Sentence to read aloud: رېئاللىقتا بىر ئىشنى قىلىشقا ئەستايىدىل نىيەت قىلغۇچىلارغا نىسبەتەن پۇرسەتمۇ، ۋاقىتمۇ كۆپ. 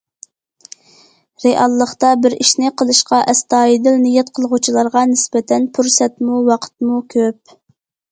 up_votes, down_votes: 2, 0